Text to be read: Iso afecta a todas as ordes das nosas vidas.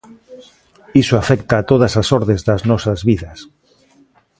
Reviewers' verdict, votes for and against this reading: rejected, 0, 2